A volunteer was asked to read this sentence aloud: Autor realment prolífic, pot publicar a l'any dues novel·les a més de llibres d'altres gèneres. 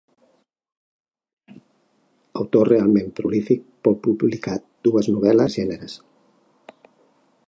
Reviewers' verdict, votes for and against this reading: rejected, 0, 2